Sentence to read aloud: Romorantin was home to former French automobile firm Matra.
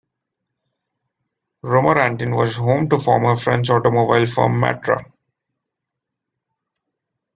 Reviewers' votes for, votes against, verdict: 2, 0, accepted